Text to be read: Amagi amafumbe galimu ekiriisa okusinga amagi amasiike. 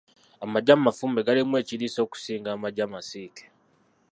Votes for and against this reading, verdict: 0, 2, rejected